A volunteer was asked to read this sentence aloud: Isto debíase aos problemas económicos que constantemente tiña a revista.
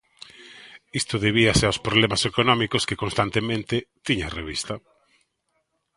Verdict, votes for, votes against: accepted, 2, 0